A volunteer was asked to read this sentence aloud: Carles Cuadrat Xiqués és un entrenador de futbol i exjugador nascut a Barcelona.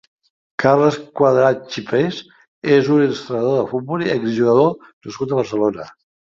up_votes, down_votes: 1, 2